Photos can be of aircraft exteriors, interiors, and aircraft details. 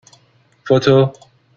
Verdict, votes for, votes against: rejected, 0, 2